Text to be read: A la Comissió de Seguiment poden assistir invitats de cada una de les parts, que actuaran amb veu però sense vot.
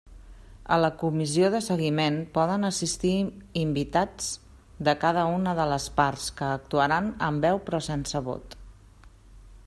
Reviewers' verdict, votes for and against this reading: accepted, 2, 0